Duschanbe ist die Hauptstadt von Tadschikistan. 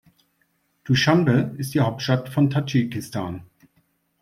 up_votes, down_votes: 2, 0